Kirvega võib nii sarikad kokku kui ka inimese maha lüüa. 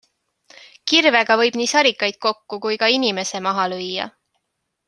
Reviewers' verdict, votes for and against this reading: accepted, 2, 1